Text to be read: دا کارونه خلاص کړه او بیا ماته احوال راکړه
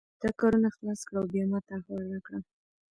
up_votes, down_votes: 2, 1